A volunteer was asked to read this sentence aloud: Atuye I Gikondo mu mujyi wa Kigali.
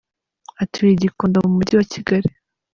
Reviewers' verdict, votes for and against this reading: accepted, 2, 0